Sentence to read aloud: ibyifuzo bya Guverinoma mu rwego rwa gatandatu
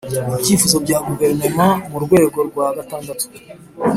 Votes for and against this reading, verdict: 2, 0, accepted